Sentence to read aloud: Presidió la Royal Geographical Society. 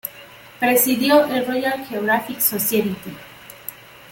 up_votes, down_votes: 1, 2